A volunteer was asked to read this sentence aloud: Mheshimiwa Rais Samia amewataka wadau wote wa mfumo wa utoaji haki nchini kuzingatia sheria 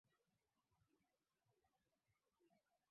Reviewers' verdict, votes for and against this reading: rejected, 0, 3